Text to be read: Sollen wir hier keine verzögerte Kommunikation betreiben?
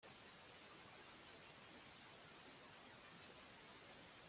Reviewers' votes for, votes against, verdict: 0, 2, rejected